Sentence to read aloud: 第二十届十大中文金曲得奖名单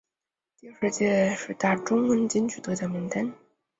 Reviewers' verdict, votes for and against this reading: rejected, 0, 2